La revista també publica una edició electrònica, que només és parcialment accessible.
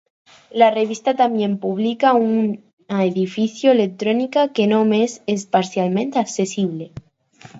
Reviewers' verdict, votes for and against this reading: rejected, 2, 4